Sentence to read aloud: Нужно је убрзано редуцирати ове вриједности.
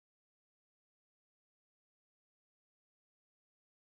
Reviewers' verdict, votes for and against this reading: rejected, 0, 2